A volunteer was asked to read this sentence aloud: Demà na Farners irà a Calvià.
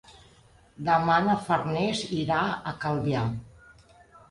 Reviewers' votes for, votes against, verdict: 3, 0, accepted